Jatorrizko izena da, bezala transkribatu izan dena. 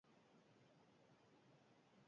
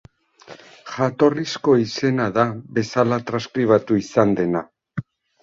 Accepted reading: second